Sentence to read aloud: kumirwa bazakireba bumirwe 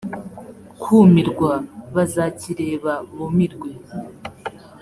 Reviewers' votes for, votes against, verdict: 2, 0, accepted